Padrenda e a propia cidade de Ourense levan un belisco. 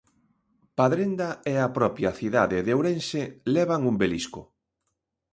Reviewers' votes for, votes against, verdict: 2, 0, accepted